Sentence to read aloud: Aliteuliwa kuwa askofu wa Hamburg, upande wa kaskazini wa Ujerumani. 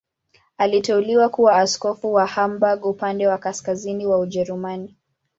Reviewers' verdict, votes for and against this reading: accepted, 2, 0